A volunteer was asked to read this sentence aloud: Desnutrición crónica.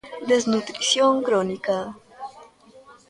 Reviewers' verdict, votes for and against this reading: accepted, 3, 0